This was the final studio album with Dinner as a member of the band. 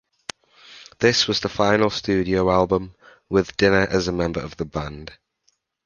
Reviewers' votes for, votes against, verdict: 2, 0, accepted